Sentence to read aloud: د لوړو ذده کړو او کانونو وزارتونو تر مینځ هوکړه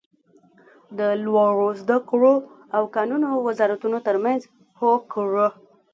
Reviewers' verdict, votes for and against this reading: rejected, 0, 2